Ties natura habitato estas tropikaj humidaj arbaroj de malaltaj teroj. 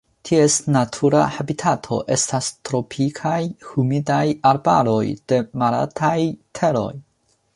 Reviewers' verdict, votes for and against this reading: accepted, 2, 1